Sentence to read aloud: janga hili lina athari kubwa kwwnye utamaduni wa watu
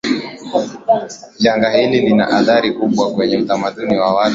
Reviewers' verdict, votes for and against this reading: rejected, 0, 2